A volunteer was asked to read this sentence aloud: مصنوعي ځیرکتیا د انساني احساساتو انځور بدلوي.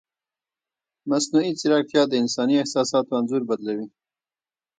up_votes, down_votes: 2, 1